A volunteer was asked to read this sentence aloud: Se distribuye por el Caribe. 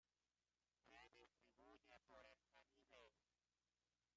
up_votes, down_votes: 0, 2